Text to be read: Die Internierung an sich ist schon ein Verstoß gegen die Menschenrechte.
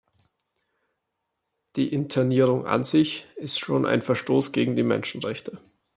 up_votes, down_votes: 2, 0